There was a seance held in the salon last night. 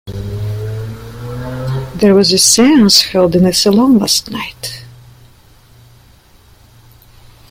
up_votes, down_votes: 2, 1